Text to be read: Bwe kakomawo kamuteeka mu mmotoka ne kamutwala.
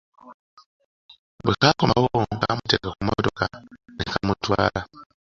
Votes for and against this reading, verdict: 2, 0, accepted